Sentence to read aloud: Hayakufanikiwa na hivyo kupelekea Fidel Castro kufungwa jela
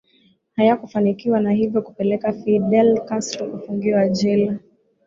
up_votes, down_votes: 3, 1